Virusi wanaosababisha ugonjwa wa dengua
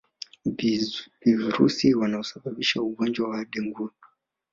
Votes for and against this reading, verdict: 1, 2, rejected